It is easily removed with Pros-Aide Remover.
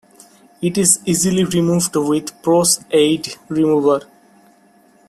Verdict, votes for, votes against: accepted, 2, 1